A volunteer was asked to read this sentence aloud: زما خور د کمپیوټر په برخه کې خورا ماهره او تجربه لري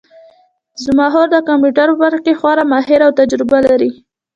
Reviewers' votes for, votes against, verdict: 2, 0, accepted